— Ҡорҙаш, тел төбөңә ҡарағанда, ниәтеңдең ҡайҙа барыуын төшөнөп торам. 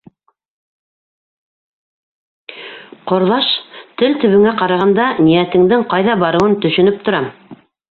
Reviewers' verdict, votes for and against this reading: accepted, 2, 0